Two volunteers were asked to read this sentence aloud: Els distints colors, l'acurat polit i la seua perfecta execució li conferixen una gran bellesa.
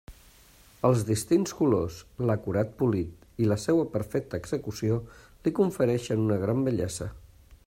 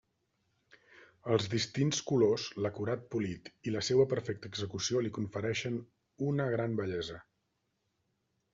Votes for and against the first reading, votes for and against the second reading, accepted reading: 0, 2, 2, 0, second